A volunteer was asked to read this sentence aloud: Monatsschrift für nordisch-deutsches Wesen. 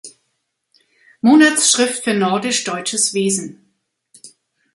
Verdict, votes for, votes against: accepted, 2, 0